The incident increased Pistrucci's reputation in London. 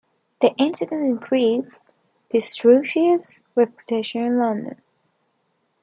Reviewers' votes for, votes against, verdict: 1, 2, rejected